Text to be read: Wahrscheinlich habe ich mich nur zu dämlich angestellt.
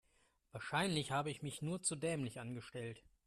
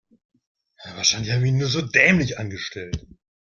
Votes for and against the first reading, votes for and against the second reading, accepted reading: 2, 0, 0, 2, first